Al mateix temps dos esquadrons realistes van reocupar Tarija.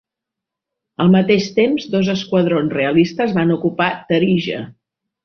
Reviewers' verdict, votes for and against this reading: rejected, 1, 3